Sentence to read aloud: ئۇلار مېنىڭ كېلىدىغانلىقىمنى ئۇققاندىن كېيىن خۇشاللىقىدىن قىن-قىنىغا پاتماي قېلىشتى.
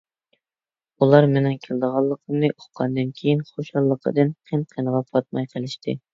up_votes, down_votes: 2, 0